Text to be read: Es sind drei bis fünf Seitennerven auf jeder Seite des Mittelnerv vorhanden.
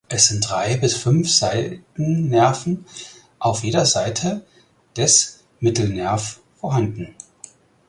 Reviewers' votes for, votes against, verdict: 4, 6, rejected